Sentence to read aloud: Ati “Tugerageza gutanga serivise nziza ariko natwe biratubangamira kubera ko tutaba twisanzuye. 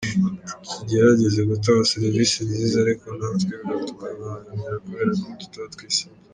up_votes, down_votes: 0, 2